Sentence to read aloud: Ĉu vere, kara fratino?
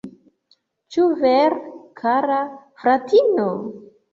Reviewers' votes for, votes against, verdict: 0, 2, rejected